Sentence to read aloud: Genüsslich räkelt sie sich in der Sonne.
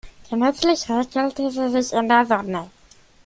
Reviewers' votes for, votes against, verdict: 0, 2, rejected